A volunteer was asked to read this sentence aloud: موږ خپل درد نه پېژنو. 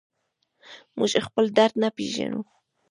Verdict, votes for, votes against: accepted, 2, 0